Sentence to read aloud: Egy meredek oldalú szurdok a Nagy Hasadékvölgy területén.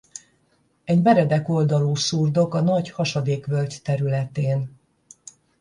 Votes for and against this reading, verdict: 10, 0, accepted